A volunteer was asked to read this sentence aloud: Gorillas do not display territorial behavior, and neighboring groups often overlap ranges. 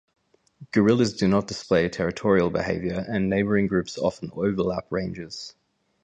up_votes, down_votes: 0, 2